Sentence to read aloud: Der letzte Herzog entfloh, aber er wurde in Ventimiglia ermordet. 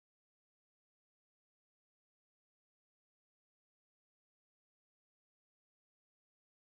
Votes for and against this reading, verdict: 0, 2, rejected